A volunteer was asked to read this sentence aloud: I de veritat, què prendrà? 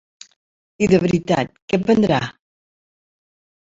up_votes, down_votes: 0, 2